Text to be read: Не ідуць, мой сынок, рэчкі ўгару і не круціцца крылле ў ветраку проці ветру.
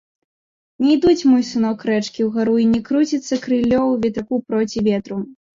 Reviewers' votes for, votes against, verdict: 0, 2, rejected